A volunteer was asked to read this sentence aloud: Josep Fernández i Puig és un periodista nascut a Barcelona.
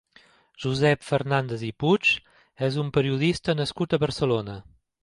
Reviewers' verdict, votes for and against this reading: accepted, 2, 0